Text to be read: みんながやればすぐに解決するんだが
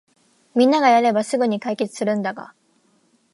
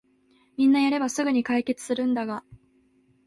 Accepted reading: first